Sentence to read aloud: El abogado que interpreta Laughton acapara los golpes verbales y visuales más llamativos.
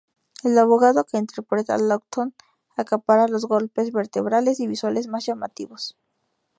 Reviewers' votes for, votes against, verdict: 0, 2, rejected